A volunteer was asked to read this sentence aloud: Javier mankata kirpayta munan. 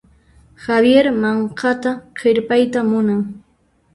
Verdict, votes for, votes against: rejected, 1, 2